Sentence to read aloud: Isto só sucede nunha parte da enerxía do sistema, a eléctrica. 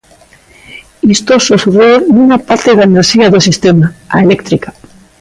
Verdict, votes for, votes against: accepted, 2, 1